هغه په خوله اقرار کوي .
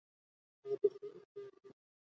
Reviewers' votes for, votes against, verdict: 1, 2, rejected